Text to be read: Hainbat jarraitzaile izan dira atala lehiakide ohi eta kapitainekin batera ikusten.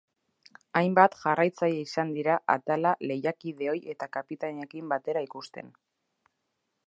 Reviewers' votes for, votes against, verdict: 0, 2, rejected